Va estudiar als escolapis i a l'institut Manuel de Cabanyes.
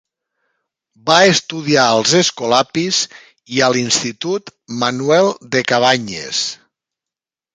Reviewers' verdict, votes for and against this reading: accepted, 3, 0